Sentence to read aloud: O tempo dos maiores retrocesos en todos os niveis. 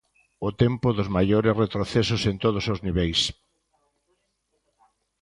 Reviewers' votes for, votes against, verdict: 2, 0, accepted